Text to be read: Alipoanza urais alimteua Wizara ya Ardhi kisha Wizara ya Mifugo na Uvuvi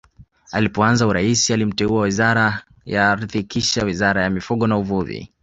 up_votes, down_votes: 2, 1